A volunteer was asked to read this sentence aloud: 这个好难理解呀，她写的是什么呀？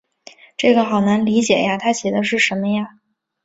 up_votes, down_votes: 3, 0